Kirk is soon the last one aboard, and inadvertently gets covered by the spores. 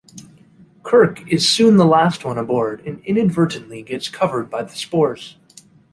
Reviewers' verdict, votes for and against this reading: accepted, 2, 0